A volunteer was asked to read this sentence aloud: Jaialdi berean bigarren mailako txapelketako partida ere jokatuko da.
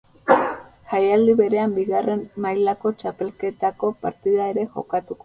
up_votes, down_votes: 0, 4